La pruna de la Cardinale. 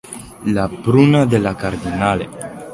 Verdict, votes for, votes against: rejected, 1, 2